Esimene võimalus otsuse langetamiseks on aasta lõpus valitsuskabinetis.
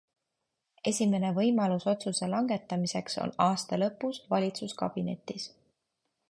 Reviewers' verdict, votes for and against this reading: accepted, 2, 0